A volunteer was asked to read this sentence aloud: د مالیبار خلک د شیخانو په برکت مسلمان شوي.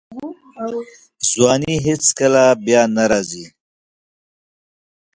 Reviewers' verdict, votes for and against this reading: rejected, 0, 2